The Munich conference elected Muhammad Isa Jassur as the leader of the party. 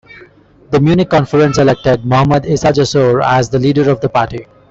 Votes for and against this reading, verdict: 1, 2, rejected